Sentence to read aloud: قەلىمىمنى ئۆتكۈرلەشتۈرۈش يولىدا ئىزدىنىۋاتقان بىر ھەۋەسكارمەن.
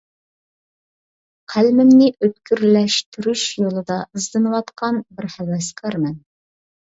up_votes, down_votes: 2, 0